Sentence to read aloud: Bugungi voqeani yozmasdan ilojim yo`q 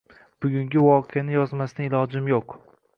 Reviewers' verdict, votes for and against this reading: accepted, 2, 0